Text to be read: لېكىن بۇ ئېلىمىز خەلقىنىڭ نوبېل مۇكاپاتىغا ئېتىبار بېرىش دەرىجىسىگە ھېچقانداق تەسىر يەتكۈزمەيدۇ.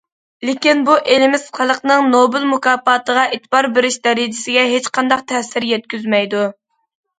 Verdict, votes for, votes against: rejected, 0, 2